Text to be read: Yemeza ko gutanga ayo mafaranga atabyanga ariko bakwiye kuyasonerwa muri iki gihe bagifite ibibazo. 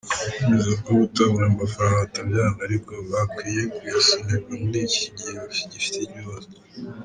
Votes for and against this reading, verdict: 0, 2, rejected